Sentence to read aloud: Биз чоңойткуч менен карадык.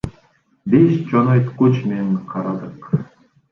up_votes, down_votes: 1, 2